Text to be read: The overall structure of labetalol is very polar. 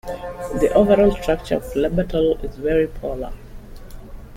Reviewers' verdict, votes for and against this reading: rejected, 1, 2